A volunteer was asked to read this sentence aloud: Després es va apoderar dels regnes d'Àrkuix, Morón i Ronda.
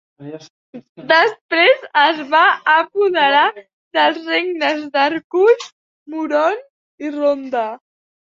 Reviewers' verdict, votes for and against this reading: rejected, 0, 2